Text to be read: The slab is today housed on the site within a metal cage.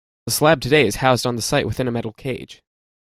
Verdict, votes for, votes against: accepted, 2, 1